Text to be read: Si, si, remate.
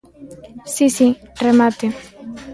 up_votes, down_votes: 3, 0